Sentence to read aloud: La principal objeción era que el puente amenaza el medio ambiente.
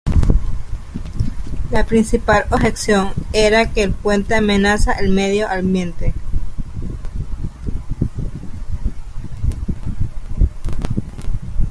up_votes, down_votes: 0, 2